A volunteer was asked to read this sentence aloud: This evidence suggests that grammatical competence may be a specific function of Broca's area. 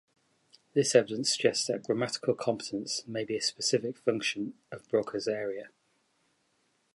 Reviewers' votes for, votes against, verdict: 2, 0, accepted